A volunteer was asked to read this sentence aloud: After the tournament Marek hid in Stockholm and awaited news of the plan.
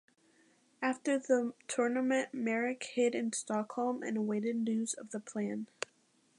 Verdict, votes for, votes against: rejected, 1, 2